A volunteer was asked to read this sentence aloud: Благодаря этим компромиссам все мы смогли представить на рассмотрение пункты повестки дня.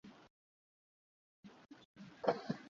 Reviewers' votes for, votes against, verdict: 0, 2, rejected